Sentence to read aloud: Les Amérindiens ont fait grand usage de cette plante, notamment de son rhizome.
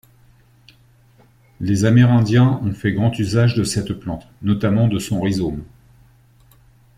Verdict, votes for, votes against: accepted, 2, 0